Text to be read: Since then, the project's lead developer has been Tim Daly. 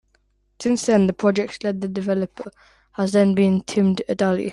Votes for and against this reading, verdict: 0, 2, rejected